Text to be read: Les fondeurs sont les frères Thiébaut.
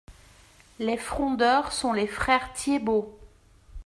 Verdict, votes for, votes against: rejected, 0, 2